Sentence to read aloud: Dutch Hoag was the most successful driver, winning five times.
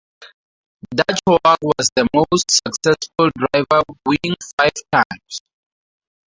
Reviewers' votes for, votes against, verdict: 2, 2, rejected